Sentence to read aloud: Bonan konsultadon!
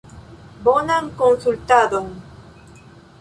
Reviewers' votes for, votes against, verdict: 2, 0, accepted